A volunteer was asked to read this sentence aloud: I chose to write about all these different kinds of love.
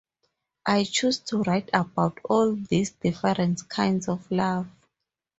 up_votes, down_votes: 4, 0